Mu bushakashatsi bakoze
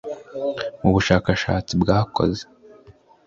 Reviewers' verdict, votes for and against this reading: rejected, 1, 2